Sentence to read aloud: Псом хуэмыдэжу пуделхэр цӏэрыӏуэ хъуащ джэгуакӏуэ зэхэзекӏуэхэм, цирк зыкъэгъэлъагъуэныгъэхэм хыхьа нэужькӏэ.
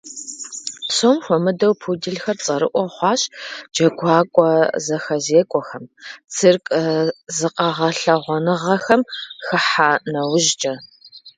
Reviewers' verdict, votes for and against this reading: rejected, 1, 2